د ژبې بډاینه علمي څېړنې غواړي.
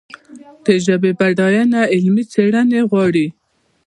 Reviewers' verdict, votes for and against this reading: rejected, 0, 2